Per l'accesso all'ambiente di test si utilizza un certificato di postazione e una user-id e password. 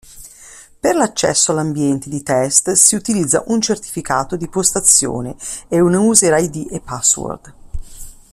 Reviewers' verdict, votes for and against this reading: accepted, 2, 0